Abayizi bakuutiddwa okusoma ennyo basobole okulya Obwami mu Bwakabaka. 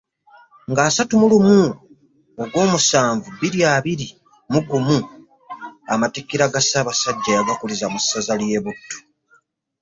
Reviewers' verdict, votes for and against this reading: rejected, 2, 3